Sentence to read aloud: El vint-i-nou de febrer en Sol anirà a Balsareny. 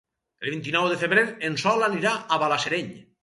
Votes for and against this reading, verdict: 2, 4, rejected